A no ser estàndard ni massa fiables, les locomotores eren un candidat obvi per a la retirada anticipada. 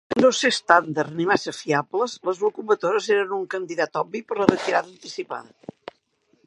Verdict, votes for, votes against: rejected, 1, 2